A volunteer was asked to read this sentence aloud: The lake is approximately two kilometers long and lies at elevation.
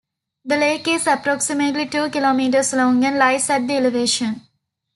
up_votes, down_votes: 1, 2